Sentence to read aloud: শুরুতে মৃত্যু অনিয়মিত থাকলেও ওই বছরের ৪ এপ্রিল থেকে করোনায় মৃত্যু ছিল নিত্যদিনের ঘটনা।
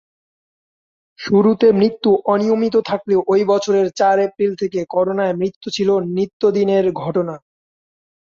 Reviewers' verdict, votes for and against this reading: rejected, 0, 2